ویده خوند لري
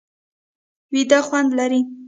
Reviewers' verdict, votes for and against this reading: rejected, 1, 2